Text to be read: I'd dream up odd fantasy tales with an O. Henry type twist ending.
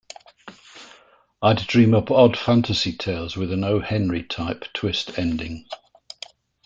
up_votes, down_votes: 2, 0